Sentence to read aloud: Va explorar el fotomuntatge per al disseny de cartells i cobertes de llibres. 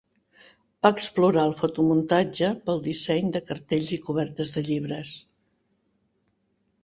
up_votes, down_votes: 2, 4